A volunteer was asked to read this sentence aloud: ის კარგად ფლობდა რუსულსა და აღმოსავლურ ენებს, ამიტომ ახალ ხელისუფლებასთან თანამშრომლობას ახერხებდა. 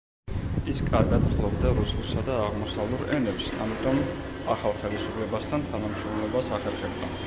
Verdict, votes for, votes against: rejected, 1, 2